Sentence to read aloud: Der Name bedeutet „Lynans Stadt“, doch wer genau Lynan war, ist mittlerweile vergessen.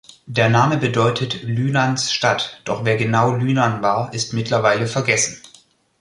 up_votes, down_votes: 2, 0